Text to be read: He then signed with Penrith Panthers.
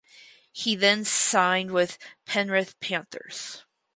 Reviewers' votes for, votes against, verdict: 4, 2, accepted